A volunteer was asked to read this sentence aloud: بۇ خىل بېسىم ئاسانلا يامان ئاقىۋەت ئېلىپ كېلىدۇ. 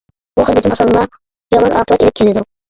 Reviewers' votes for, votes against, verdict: 1, 2, rejected